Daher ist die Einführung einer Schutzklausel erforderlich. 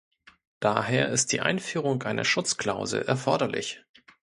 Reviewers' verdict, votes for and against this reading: accepted, 2, 0